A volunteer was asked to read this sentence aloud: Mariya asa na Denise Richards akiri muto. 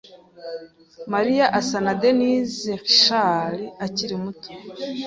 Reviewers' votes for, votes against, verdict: 3, 0, accepted